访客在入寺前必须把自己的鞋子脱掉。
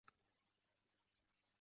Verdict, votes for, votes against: rejected, 0, 2